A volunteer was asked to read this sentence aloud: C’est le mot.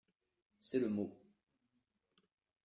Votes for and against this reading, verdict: 2, 0, accepted